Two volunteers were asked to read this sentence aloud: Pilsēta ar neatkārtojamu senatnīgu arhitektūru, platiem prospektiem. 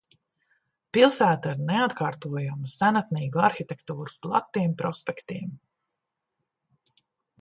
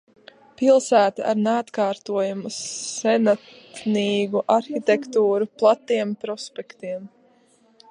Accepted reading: first